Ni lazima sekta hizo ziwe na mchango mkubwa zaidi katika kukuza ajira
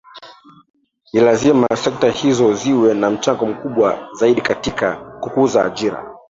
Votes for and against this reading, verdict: 3, 1, accepted